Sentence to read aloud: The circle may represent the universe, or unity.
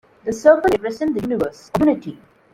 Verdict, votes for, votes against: rejected, 0, 2